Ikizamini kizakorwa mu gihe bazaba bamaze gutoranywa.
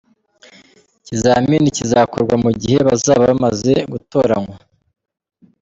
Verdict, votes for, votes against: accepted, 2, 0